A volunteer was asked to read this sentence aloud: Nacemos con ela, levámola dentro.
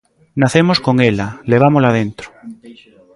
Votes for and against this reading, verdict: 2, 0, accepted